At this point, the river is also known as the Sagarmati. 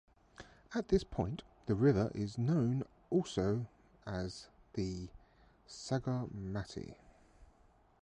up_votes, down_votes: 1, 2